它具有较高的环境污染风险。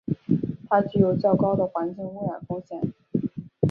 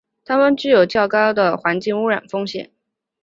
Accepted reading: first